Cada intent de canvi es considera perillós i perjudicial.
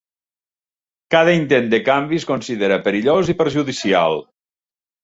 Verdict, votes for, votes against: accepted, 3, 0